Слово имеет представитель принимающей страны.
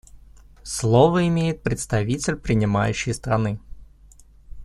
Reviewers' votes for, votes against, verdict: 2, 0, accepted